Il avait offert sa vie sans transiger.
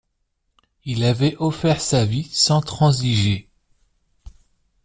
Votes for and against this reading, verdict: 2, 0, accepted